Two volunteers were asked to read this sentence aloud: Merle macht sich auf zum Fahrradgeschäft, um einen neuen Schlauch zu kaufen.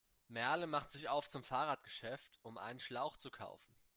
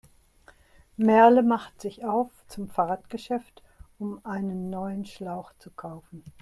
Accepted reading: second